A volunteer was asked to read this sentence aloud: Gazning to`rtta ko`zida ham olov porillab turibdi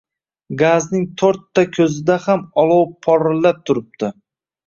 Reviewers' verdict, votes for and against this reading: accepted, 2, 0